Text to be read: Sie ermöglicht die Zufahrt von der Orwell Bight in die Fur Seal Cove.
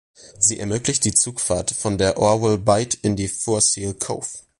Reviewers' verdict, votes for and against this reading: rejected, 0, 2